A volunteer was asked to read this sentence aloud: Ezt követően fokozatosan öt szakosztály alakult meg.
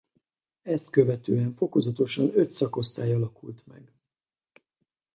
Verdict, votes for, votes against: rejected, 2, 2